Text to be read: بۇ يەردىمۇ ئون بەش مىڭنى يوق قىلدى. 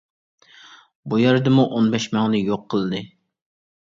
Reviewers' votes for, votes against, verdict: 2, 0, accepted